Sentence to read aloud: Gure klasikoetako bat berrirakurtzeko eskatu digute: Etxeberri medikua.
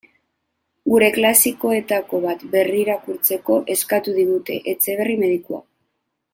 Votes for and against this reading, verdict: 2, 0, accepted